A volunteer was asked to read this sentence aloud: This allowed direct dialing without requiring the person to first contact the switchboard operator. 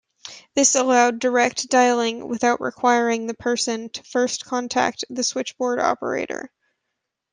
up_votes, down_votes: 0, 2